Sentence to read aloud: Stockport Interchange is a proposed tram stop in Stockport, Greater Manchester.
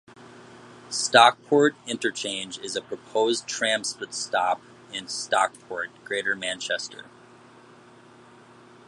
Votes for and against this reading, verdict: 1, 2, rejected